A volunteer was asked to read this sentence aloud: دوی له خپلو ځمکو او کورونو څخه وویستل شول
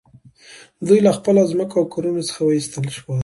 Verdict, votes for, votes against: accepted, 2, 0